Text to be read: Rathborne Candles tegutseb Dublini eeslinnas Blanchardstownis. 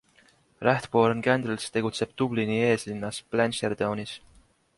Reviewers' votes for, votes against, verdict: 2, 0, accepted